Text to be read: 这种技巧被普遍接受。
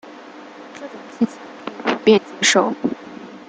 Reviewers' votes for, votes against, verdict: 0, 2, rejected